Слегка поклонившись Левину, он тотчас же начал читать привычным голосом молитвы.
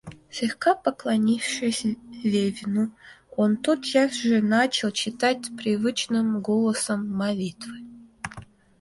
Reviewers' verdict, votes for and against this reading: rejected, 1, 2